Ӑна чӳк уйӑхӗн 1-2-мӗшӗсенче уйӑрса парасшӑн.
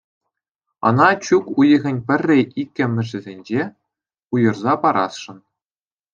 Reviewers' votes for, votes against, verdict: 0, 2, rejected